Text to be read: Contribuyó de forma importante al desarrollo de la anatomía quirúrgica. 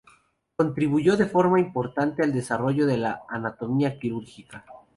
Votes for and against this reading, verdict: 2, 0, accepted